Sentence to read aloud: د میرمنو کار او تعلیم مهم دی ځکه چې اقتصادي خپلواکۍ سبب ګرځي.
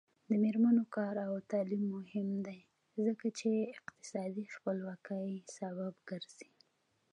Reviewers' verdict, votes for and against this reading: accepted, 2, 0